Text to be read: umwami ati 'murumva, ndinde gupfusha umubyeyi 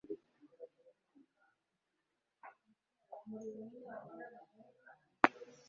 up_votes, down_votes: 0, 2